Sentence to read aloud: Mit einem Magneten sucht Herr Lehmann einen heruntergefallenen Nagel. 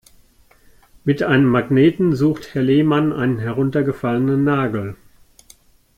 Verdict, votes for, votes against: accepted, 2, 1